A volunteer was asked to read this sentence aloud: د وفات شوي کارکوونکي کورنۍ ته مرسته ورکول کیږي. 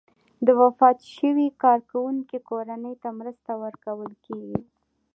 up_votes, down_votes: 1, 2